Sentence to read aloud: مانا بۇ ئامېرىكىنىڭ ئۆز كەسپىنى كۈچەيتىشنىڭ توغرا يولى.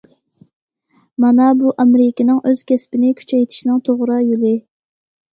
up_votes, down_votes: 2, 0